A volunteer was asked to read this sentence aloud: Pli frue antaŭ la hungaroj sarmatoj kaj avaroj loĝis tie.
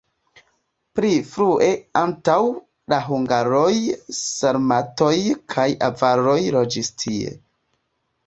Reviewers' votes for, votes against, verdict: 0, 2, rejected